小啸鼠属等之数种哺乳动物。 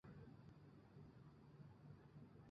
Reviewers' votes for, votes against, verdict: 0, 5, rejected